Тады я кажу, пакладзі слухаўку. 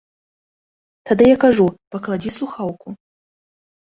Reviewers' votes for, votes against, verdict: 0, 2, rejected